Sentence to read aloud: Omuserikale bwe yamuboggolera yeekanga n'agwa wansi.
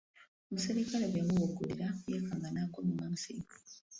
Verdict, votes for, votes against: rejected, 1, 2